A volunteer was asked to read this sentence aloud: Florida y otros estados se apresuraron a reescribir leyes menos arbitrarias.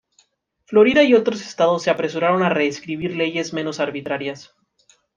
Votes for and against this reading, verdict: 2, 0, accepted